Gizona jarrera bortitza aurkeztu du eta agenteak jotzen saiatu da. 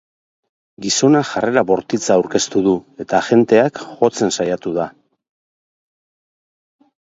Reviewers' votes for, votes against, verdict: 4, 0, accepted